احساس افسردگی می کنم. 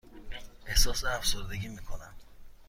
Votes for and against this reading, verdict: 2, 0, accepted